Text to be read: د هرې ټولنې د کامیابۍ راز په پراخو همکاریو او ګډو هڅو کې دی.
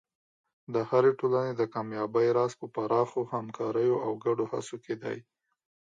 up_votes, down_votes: 3, 0